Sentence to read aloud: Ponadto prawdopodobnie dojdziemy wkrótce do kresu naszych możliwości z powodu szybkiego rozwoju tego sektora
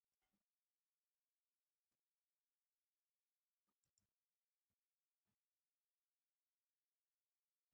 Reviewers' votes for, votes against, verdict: 0, 2, rejected